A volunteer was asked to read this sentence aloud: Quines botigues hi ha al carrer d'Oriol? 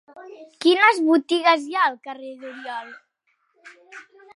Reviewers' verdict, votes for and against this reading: accepted, 3, 0